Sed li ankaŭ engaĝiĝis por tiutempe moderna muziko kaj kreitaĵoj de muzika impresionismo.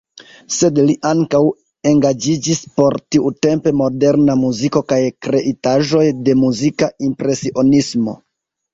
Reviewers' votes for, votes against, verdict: 0, 2, rejected